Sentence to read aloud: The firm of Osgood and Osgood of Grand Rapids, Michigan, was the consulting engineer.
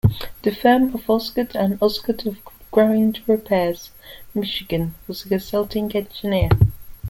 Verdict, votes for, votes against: rejected, 1, 2